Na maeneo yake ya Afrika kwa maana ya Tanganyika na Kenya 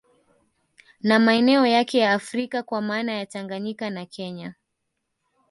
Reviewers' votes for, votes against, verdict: 1, 2, rejected